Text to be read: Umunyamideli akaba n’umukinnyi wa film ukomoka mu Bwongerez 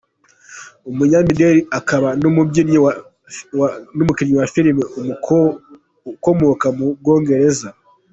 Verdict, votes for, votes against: rejected, 1, 3